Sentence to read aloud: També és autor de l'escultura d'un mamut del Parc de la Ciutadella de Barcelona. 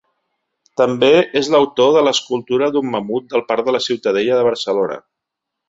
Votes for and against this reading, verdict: 1, 2, rejected